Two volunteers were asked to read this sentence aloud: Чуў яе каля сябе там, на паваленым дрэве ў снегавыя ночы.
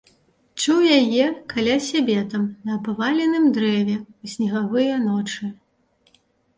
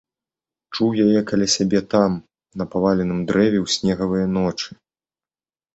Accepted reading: second